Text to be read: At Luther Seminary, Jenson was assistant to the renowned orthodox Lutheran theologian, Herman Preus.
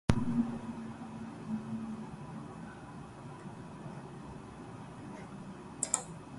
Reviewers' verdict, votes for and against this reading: rejected, 0, 2